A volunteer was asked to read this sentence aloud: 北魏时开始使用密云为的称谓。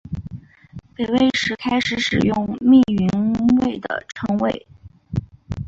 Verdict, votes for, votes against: accepted, 4, 0